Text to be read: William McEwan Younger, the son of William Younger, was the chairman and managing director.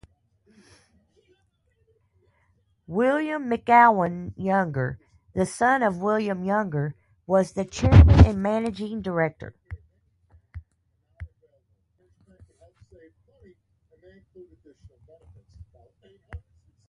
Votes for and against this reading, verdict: 0, 2, rejected